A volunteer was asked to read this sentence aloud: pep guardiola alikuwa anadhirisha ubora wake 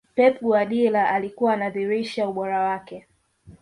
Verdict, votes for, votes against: rejected, 1, 2